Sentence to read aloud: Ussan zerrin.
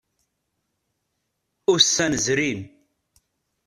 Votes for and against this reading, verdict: 1, 2, rejected